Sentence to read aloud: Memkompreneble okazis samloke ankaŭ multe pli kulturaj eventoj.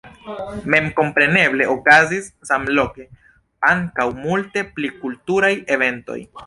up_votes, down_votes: 2, 1